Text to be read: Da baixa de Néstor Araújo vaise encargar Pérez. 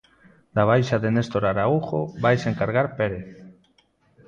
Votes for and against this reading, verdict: 1, 2, rejected